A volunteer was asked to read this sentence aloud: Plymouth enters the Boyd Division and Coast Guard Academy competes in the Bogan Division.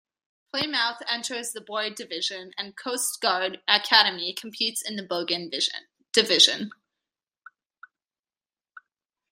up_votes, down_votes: 0, 2